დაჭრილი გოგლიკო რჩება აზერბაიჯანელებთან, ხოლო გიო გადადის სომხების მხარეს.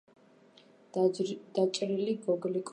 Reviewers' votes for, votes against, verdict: 0, 2, rejected